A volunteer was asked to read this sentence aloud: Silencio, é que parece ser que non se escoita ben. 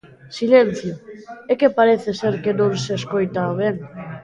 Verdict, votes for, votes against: accepted, 2, 1